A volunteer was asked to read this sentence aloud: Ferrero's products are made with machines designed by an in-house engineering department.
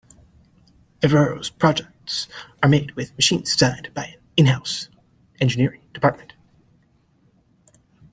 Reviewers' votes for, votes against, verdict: 1, 2, rejected